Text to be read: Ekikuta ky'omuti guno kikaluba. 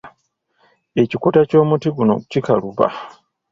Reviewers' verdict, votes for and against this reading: accepted, 2, 0